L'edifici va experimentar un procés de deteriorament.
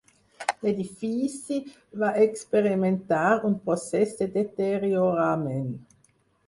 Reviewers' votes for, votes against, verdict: 4, 0, accepted